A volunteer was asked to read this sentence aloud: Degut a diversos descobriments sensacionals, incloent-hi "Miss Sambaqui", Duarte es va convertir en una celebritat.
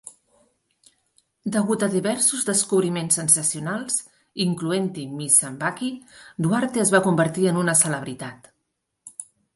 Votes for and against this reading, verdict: 4, 0, accepted